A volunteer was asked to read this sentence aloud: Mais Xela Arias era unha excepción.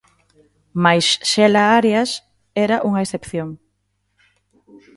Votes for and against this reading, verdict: 2, 1, accepted